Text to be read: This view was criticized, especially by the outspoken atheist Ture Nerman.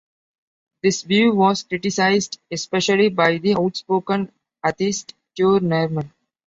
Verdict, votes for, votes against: accepted, 2, 1